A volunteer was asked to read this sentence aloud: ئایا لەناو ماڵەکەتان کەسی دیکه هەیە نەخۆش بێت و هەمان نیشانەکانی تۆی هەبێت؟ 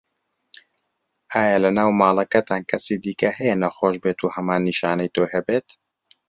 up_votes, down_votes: 1, 2